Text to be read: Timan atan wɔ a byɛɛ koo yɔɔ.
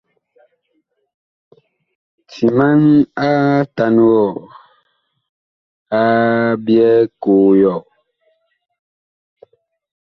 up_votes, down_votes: 2, 0